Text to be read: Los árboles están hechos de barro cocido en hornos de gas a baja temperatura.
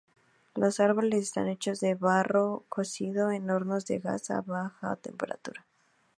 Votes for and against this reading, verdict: 2, 0, accepted